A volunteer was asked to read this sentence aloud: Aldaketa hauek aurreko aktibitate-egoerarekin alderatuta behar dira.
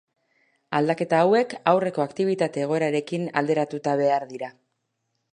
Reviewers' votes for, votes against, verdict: 2, 0, accepted